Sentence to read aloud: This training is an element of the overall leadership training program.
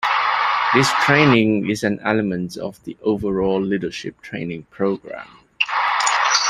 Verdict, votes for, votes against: rejected, 1, 2